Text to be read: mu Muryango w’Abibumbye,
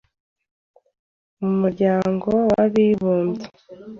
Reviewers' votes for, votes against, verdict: 2, 0, accepted